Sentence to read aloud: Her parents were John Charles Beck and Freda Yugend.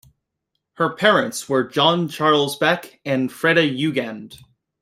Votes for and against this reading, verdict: 2, 0, accepted